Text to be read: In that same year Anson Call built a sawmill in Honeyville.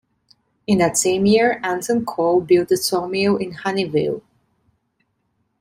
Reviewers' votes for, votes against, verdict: 2, 0, accepted